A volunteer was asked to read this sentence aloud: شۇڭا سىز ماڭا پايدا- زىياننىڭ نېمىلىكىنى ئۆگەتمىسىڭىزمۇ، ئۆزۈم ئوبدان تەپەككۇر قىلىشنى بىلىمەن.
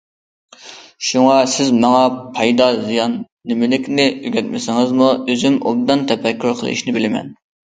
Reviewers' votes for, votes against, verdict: 1, 2, rejected